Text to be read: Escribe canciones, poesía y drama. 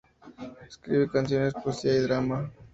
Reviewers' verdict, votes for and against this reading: accepted, 2, 0